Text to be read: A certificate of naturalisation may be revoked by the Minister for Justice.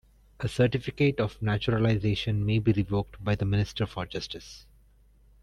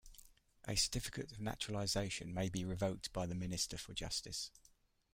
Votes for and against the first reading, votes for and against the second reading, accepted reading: 1, 2, 2, 1, second